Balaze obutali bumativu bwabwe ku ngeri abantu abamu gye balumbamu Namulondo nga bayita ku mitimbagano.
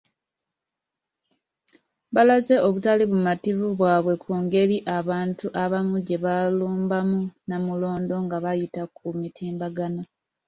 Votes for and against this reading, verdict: 2, 0, accepted